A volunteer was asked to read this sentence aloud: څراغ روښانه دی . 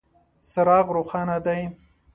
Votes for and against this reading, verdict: 2, 0, accepted